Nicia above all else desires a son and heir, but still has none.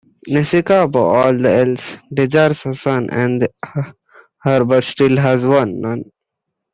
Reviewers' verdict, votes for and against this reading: rejected, 0, 2